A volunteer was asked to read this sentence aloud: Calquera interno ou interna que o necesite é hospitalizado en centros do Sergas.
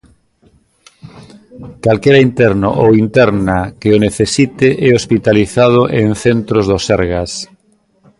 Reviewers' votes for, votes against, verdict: 2, 0, accepted